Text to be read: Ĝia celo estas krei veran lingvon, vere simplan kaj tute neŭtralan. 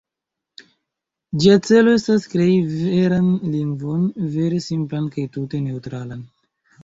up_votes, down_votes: 2, 1